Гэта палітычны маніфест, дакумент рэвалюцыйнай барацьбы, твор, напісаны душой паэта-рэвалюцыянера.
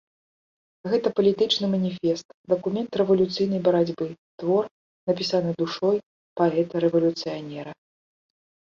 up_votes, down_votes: 2, 0